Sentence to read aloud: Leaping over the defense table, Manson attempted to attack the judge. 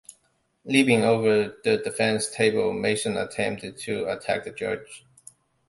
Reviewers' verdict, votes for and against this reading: accepted, 2, 0